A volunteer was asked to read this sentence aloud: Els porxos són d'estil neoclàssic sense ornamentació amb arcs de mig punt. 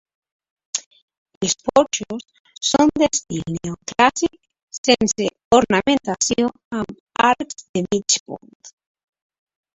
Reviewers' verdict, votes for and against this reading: accepted, 2, 0